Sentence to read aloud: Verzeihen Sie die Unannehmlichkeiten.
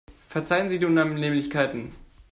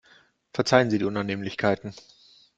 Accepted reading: second